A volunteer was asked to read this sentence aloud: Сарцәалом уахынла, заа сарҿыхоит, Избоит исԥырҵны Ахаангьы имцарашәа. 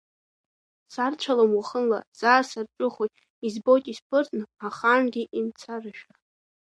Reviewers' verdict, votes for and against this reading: rejected, 0, 2